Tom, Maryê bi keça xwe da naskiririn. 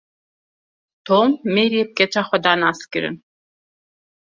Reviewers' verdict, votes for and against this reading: accepted, 2, 0